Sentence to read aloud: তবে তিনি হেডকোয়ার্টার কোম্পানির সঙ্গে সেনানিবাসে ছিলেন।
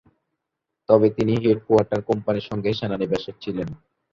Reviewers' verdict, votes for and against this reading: rejected, 2, 2